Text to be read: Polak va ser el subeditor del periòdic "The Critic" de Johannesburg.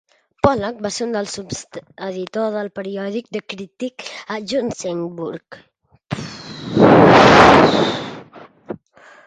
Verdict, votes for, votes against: rejected, 0, 4